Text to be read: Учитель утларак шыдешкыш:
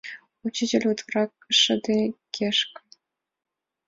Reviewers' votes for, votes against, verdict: 0, 2, rejected